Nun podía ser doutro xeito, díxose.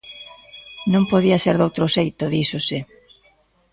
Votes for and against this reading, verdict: 0, 2, rejected